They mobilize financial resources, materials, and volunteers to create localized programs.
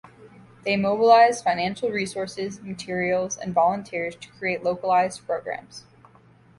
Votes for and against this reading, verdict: 2, 0, accepted